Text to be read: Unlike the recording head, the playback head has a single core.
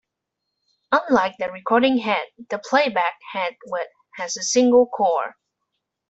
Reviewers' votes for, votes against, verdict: 2, 1, accepted